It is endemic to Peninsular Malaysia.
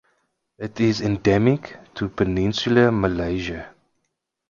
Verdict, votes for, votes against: accepted, 2, 0